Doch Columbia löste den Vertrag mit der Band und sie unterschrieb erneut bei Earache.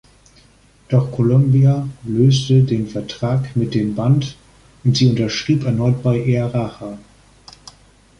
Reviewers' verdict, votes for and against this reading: rejected, 0, 2